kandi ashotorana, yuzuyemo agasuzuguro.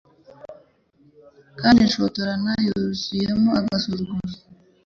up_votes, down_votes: 2, 0